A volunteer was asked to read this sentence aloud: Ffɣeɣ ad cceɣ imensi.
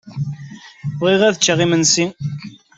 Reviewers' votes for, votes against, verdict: 2, 0, accepted